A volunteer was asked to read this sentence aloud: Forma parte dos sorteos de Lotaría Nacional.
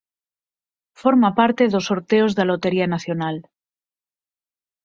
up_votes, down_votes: 0, 4